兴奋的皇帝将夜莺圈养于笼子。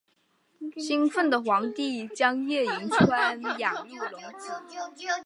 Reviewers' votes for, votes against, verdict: 0, 2, rejected